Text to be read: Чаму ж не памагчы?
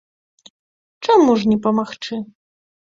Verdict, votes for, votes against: accepted, 2, 0